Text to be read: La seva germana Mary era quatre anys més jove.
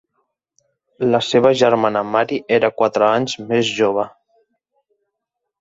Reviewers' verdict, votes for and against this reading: accepted, 3, 0